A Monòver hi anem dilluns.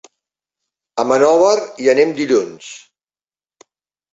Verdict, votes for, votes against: rejected, 1, 2